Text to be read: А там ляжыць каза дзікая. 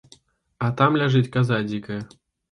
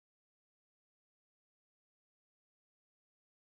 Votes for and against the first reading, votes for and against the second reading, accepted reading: 2, 0, 0, 3, first